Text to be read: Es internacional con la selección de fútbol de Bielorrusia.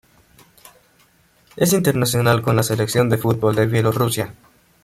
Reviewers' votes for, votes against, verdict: 1, 2, rejected